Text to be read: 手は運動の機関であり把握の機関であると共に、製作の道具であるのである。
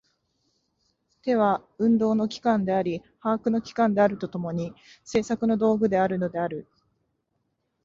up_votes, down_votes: 12, 2